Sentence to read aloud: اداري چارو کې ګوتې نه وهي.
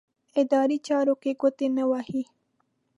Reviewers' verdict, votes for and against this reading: accepted, 2, 0